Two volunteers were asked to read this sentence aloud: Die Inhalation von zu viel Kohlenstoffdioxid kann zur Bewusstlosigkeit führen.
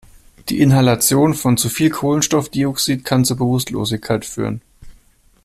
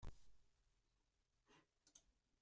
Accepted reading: first